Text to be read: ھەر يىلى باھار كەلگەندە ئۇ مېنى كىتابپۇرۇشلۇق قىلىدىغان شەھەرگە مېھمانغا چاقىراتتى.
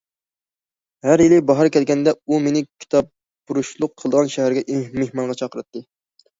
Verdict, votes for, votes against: accepted, 2, 0